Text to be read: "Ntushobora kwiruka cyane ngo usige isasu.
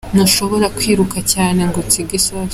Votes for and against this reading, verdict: 3, 1, accepted